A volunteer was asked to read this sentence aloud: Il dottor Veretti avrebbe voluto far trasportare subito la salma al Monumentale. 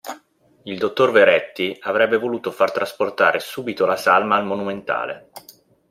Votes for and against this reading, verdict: 2, 0, accepted